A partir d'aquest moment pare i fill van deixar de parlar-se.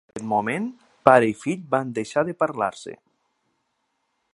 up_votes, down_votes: 4, 6